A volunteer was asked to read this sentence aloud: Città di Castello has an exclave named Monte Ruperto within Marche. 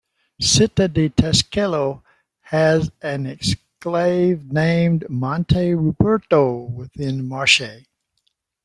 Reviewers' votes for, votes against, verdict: 1, 2, rejected